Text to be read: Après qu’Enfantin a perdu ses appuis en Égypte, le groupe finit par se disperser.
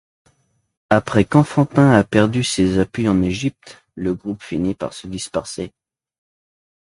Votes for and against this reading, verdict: 2, 1, accepted